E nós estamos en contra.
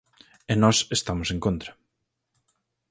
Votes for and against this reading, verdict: 4, 0, accepted